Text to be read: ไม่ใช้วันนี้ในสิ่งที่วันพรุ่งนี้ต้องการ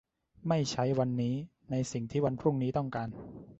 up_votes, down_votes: 2, 0